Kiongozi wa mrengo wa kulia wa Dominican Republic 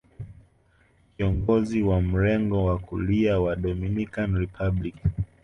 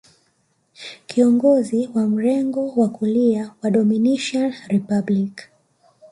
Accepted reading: first